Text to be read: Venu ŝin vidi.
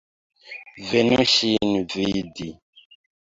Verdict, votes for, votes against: rejected, 0, 2